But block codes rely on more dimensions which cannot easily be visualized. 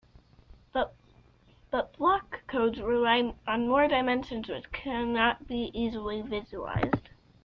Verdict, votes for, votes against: rejected, 1, 2